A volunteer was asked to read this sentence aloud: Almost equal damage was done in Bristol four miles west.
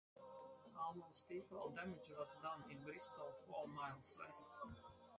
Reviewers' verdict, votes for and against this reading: rejected, 2, 2